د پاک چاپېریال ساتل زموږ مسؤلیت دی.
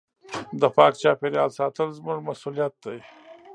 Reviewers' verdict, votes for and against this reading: rejected, 1, 2